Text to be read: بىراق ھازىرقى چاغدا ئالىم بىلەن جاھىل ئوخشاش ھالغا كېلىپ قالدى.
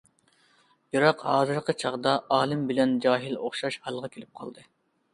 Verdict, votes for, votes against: accepted, 2, 0